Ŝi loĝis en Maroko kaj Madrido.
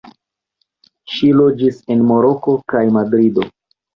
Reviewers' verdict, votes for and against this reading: rejected, 1, 2